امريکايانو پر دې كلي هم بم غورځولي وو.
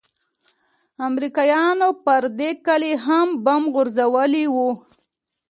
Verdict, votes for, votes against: accepted, 2, 0